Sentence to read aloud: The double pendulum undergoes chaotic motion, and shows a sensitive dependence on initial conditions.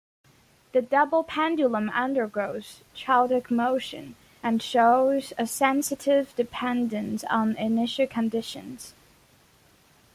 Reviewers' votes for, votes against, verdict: 2, 0, accepted